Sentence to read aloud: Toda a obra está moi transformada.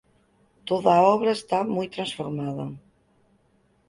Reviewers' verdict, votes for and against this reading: accepted, 4, 0